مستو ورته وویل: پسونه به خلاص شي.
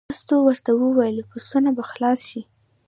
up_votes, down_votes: 0, 2